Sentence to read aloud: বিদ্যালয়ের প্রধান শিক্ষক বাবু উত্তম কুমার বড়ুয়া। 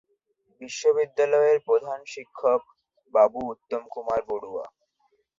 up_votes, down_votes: 2, 0